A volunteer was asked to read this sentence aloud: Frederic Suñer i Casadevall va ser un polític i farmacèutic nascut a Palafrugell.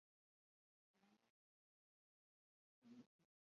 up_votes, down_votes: 0, 2